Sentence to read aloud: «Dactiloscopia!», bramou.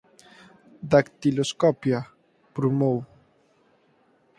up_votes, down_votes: 2, 4